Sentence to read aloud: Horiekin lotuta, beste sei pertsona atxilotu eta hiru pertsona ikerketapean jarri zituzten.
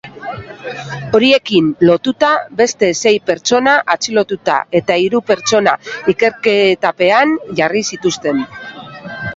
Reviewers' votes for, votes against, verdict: 1, 3, rejected